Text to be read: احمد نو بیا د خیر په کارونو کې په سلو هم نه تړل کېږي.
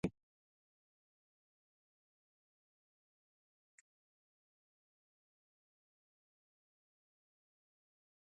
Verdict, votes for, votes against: rejected, 0, 2